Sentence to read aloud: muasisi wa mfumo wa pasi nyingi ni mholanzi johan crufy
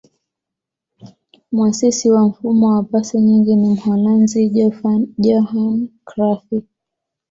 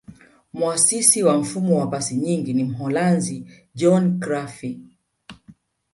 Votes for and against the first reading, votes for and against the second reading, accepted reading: 2, 0, 1, 2, first